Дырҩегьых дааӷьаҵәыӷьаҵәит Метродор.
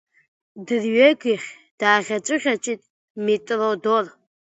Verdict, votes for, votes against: rejected, 0, 2